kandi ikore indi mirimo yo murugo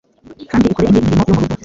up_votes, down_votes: 1, 2